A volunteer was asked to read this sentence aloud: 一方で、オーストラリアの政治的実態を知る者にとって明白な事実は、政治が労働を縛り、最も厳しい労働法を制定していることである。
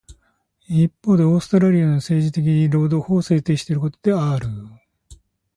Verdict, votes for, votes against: rejected, 0, 2